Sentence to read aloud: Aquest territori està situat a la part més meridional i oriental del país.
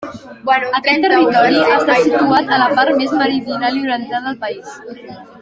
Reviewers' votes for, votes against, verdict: 2, 1, accepted